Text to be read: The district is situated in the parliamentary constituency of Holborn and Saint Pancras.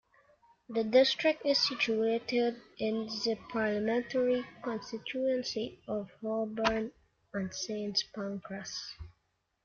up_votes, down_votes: 2, 0